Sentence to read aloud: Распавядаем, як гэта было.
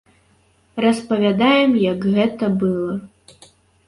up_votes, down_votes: 1, 3